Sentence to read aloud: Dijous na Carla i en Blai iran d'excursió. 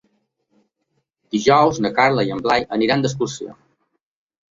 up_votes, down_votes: 1, 2